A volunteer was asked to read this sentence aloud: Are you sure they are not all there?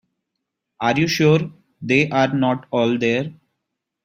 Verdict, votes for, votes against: accepted, 2, 0